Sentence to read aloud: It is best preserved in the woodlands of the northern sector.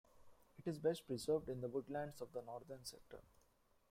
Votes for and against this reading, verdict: 2, 0, accepted